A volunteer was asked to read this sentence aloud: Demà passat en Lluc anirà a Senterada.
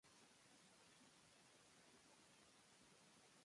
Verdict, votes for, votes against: rejected, 0, 2